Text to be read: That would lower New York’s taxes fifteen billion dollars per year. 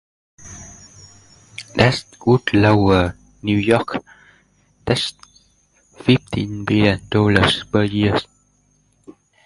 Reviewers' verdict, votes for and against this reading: rejected, 0, 2